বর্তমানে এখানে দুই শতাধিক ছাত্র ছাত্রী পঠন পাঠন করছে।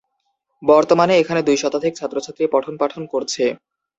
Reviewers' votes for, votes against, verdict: 18, 0, accepted